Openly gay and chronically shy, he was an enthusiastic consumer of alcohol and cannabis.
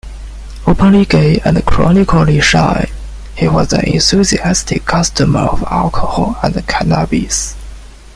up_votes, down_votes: 0, 2